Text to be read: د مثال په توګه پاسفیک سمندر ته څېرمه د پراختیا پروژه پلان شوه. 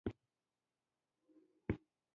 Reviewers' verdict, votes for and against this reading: rejected, 0, 2